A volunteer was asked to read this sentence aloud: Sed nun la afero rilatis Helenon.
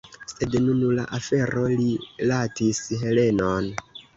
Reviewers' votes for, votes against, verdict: 1, 3, rejected